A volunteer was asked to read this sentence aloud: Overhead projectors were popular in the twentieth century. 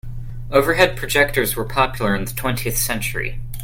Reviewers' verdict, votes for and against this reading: accepted, 2, 0